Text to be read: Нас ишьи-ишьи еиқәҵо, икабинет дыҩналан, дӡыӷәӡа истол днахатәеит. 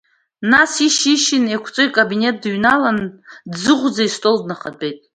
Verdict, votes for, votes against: accepted, 2, 0